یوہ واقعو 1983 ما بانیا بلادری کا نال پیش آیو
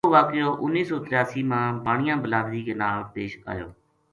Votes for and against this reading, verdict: 0, 2, rejected